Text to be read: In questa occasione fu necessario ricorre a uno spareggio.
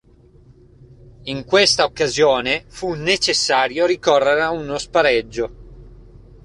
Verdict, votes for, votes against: accepted, 2, 0